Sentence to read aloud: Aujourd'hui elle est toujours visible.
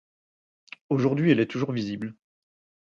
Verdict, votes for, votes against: accepted, 4, 0